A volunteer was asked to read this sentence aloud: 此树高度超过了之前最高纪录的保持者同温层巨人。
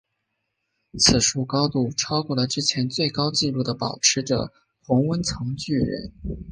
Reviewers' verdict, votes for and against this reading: accepted, 2, 0